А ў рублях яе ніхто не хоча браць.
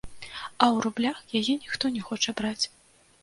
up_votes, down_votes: 2, 0